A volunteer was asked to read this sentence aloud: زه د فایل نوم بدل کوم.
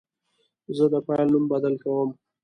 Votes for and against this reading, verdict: 2, 0, accepted